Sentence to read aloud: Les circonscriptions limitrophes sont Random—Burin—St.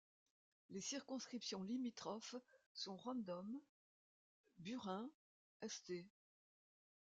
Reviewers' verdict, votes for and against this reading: rejected, 0, 2